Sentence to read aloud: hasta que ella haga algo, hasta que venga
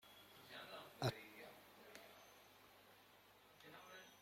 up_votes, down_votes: 0, 2